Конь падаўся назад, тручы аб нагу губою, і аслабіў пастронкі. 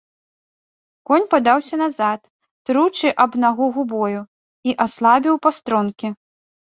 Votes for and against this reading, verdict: 2, 0, accepted